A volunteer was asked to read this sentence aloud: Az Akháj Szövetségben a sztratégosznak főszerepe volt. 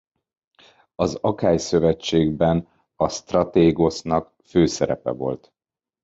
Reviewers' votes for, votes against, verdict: 2, 1, accepted